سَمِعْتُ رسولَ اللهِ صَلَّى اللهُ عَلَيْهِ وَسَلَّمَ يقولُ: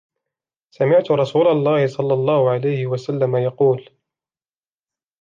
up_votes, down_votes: 0, 2